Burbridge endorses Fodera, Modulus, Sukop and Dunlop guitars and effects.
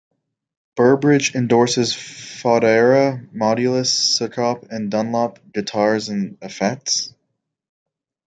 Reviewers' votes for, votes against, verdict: 2, 0, accepted